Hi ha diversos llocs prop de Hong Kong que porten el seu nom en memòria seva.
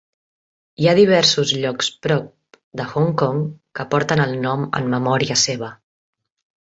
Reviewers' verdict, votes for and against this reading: rejected, 0, 2